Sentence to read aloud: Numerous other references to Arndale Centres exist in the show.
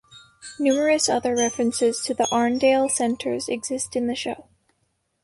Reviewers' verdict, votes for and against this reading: rejected, 1, 2